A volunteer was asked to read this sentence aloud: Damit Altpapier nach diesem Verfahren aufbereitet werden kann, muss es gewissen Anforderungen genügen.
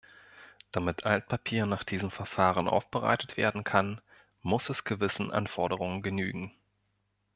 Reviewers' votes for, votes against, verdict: 2, 0, accepted